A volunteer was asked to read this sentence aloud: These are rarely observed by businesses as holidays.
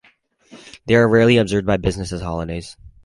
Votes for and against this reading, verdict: 0, 4, rejected